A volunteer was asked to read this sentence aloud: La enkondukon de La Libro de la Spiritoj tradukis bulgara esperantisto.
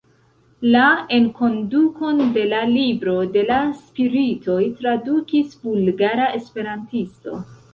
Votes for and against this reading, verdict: 2, 1, accepted